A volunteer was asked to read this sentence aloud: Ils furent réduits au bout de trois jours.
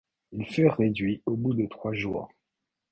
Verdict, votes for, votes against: accepted, 2, 1